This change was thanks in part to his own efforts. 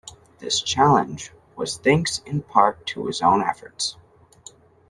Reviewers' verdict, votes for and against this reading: rejected, 1, 2